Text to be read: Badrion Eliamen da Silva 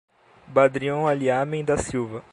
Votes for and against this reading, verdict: 2, 0, accepted